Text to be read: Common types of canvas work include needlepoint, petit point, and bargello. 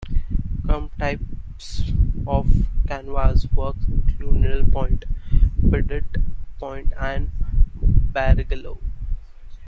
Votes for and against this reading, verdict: 1, 2, rejected